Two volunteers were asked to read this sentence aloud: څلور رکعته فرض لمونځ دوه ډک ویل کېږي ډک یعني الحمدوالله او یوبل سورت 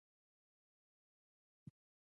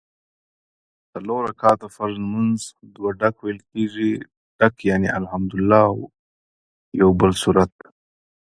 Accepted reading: second